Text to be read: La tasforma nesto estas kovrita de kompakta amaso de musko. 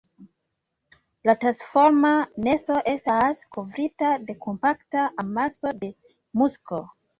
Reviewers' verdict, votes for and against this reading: accepted, 2, 1